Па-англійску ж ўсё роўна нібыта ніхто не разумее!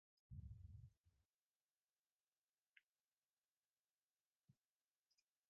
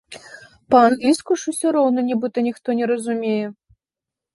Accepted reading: second